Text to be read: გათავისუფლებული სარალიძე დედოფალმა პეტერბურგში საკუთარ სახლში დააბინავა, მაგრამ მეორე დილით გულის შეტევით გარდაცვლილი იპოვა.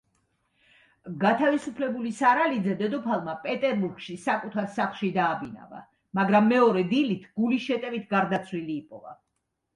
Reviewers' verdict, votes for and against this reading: accepted, 2, 0